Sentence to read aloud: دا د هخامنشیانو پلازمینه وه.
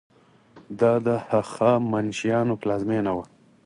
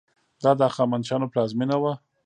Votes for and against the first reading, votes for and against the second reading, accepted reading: 4, 0, 1, 2, first